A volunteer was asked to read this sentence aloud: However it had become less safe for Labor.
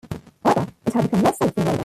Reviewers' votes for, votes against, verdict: 0, 2, rejected